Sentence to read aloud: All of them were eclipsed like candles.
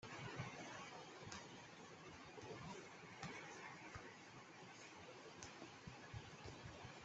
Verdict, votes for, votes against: rejected, 0, 2